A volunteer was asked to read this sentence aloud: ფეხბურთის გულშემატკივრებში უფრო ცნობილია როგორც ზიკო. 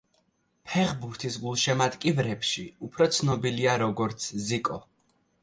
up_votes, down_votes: 2, 0